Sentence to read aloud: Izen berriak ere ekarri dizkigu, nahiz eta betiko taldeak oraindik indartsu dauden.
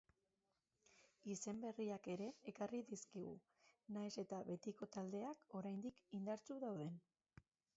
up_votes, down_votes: 0, 2